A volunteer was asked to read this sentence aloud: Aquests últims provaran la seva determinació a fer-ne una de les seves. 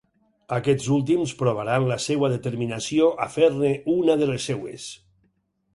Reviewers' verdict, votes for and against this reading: rejected, 2, 4